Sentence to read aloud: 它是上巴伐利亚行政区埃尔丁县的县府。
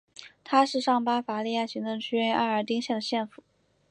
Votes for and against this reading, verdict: 10, 0, accepted